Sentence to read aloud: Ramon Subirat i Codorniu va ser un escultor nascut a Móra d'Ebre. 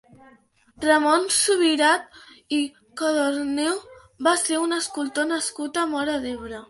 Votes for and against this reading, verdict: 5, 1, accepted